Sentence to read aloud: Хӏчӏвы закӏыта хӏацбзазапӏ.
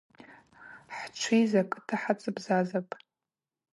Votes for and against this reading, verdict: 2, 2, rejected